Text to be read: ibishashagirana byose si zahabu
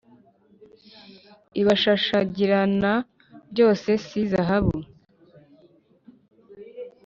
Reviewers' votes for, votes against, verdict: 0, 2, rejected